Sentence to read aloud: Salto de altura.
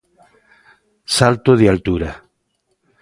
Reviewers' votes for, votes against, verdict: 2, 0, accepted